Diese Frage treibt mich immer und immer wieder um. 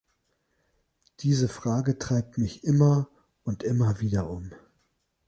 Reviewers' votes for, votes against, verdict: 3, 0, accepted